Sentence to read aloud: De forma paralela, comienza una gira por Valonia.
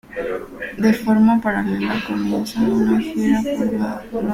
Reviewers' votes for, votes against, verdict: 0, 3, rejected